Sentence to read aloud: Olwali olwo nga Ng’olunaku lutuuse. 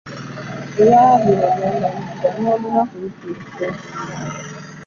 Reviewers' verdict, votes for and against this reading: accepted, 2, 0